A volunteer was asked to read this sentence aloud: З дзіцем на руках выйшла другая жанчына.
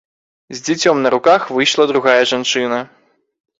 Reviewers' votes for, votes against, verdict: 1, 2, rejected